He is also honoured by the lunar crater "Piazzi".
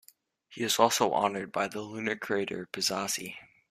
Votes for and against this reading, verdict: 2, 0, accepted